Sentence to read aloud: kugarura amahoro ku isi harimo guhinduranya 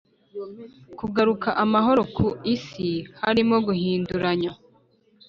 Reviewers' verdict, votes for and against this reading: rejected, 1, 2